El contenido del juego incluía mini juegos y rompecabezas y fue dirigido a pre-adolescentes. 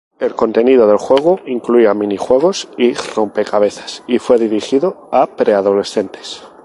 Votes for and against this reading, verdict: 2, 0, accepted